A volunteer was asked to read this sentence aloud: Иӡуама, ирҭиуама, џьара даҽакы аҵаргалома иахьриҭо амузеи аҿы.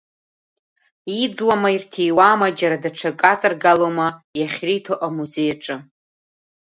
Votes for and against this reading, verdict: 1, 2, rejected